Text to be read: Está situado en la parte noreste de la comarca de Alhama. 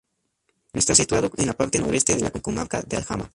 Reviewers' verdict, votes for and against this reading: rejected, 0, 2